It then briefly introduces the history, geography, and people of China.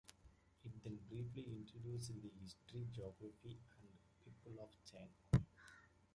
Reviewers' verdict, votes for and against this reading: rejected, 1, 2